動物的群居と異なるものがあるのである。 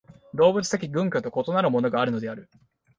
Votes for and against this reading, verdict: 6, 0, accepted